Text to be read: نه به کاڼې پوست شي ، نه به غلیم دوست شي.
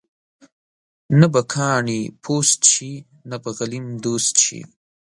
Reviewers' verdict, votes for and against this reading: accepted, 2, 0